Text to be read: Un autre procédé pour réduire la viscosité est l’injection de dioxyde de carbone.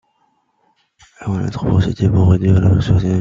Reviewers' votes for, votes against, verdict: 0, 2, rejected